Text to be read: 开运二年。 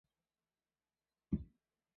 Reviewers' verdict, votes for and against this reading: rejected, 0, 2